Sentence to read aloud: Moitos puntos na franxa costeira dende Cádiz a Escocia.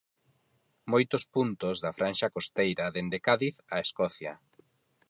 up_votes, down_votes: 0, 4